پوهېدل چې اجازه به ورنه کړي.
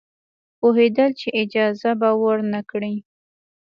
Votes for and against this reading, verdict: 2, 0, accepted